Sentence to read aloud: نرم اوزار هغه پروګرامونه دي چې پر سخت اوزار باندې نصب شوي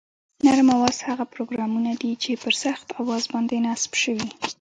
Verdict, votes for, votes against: rejected, 1, 2